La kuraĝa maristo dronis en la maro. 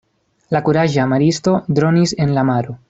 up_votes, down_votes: 0, 2